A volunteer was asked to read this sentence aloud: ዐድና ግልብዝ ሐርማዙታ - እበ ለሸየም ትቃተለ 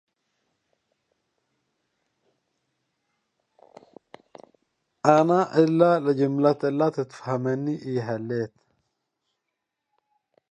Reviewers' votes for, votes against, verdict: 0, 2, rejected